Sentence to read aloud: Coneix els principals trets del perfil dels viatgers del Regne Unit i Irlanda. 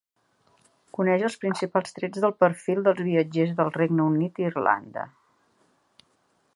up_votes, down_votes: 2, 0